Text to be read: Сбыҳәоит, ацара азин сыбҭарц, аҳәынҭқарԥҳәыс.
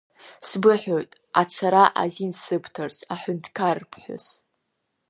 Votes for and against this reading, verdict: 2, 0, accepted